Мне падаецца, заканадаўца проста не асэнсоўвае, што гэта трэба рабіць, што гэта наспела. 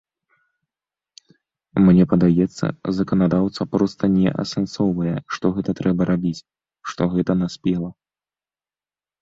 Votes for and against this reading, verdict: 2, 0, accepted